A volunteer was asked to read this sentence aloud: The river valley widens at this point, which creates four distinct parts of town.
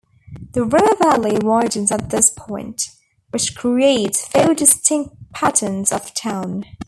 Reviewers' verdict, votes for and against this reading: rejected, 1, 2